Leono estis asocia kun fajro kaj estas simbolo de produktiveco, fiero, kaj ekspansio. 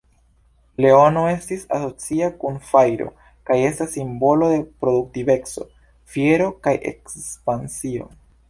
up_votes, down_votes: 2, 1